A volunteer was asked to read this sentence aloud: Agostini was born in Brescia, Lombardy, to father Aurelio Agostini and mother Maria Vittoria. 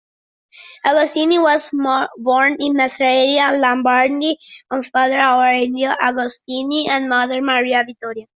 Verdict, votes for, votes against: rejected, 0, 2